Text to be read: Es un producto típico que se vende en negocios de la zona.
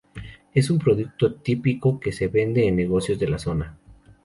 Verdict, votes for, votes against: accepted, 2, 0